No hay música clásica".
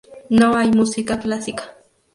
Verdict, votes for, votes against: accepted, 2, 0